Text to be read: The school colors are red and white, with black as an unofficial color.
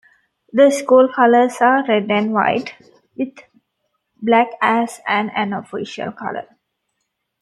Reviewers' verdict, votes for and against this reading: accepted, 2, 0